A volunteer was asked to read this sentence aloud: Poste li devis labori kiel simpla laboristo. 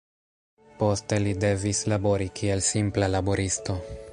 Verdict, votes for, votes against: rejected, 1, 2